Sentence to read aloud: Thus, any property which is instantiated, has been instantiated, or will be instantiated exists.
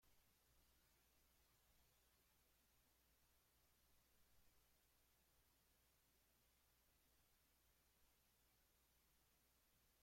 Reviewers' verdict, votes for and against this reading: rejected, 0, 2